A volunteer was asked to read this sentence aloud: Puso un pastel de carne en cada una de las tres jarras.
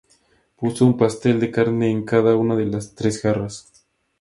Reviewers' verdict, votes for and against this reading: rejected, 2, 2